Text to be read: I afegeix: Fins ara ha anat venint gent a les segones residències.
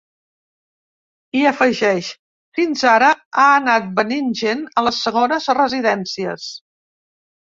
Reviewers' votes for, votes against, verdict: 2, 0, accepted